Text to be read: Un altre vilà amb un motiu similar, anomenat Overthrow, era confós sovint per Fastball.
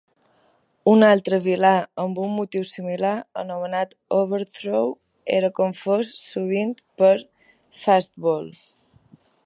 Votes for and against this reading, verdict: 3, 0, accepted